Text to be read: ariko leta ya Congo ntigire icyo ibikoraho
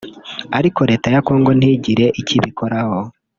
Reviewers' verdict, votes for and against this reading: rejected, 0, 2